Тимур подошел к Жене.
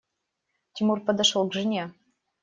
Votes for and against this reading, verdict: 0, 2, rejected